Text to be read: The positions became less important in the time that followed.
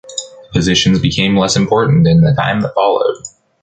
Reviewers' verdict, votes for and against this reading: rejected, 1, 2